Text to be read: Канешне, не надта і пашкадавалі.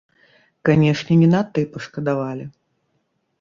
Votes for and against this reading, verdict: 1, 3, rejected